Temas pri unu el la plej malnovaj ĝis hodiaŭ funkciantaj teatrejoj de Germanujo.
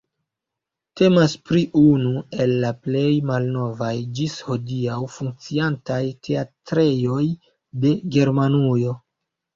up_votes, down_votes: 2, 1